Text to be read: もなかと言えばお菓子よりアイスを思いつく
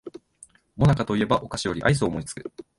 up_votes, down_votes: 2, 0